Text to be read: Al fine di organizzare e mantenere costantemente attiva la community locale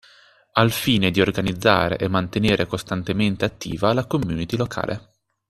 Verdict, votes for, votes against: accepted, 2, 0